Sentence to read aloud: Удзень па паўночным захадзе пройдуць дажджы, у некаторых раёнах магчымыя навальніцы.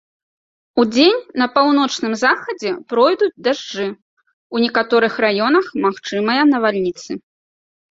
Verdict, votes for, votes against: rejected, 0, 2